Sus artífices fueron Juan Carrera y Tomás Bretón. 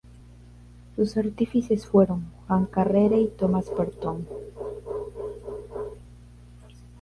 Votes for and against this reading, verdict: 0, 2, rejected